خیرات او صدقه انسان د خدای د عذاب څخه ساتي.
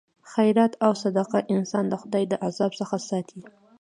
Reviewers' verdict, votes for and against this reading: rejected, 1, 2